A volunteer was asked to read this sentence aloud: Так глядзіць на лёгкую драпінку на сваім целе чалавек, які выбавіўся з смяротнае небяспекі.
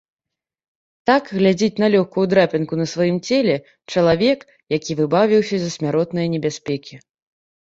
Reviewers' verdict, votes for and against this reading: rejected, 0, 2